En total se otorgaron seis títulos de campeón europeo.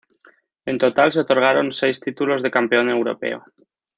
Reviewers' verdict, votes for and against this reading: accepted, 2, 0